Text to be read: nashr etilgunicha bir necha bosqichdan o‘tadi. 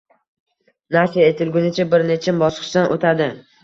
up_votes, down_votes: 1, 2